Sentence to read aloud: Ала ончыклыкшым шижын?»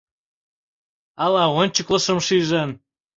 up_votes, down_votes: 1, 2